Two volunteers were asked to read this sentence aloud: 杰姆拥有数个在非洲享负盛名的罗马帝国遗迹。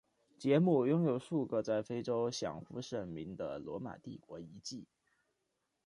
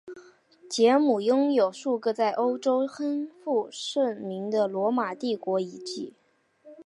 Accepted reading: first